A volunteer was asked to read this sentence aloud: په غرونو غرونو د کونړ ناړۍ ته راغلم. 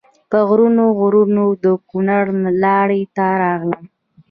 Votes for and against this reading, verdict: 0, 2, rejected